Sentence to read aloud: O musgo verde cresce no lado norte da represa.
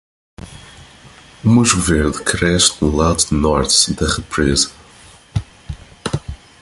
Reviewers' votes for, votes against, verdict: 2, 0, accepted